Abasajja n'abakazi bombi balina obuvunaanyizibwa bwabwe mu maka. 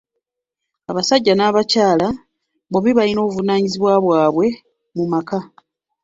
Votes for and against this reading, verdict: 0, 2, rejected